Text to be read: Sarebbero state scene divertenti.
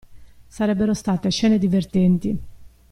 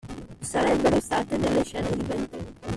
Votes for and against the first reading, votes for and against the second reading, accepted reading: 2, 0, 1, 2, first